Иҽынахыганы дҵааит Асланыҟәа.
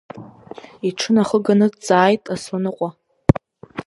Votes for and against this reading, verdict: 4, 0, accepted